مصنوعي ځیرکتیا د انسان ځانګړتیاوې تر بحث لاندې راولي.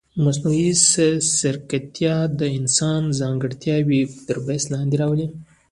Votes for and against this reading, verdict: 1, 2, rejected